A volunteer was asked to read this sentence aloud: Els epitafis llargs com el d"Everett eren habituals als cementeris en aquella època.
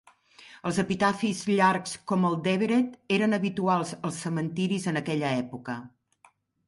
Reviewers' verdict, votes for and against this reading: accepted, 2, 0